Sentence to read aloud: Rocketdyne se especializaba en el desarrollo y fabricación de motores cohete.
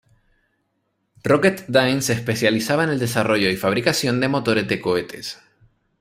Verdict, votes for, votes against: rejected, 1, 2